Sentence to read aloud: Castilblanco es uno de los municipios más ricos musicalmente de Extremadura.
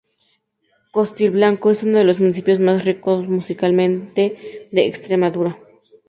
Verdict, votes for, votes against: rejected, 0, 4